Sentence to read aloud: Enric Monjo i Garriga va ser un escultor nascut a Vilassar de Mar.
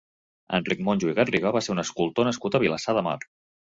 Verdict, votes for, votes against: accepted, 2, 0